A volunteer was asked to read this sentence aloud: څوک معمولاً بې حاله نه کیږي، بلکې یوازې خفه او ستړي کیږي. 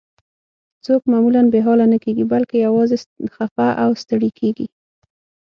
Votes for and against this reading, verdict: 6, 0, accepted